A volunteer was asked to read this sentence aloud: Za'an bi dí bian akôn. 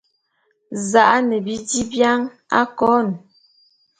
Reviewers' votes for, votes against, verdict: 0, 2, rejected